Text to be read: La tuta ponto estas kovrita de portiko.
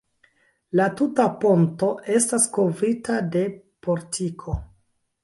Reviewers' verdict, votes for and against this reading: accepted, 2, 0